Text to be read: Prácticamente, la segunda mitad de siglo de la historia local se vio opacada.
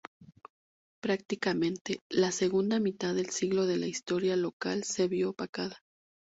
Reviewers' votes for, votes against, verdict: 0, 2, rejected